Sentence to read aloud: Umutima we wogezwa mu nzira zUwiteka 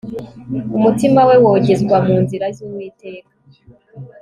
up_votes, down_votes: 2, 0